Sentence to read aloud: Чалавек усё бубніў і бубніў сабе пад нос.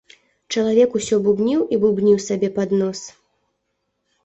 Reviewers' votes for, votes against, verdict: 2, 0, accepted